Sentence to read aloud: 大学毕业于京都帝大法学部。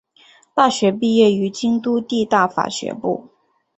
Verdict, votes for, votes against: accepted, 2, 0